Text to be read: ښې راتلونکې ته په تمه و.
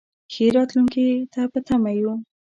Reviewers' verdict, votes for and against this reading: rejected, 0, 2